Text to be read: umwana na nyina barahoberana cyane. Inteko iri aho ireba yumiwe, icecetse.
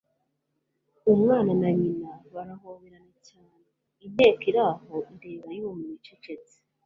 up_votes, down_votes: 2, 0